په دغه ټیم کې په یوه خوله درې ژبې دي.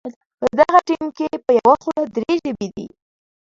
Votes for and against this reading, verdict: 1, 2, rejected